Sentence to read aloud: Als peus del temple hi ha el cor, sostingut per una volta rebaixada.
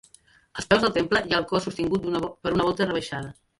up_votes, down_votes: 1, 2